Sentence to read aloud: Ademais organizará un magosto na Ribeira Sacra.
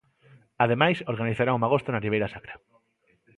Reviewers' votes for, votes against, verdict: 2, 0, accepted